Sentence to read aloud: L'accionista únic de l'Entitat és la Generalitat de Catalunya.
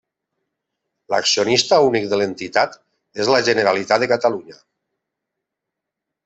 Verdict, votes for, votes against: accepted, 3, 0